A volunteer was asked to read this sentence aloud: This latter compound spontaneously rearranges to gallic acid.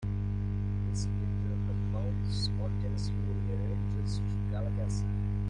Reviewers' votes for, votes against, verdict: 0, 2, rejected